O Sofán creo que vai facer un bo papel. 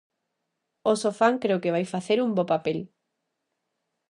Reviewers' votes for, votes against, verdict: 2, 0, accepted